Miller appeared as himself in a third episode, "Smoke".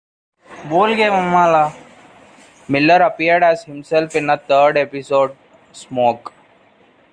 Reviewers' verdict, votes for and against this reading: accepted, 2, 1